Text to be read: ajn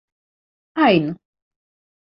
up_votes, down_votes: 4, 0